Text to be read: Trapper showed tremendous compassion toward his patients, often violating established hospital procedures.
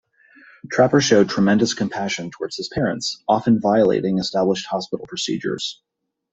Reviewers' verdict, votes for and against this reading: rejected, 0, 2